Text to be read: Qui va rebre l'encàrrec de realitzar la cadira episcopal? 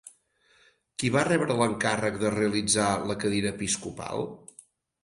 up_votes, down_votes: 6, 0